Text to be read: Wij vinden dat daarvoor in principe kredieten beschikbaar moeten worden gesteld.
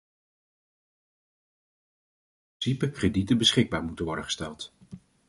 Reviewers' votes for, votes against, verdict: 0, 2, rejected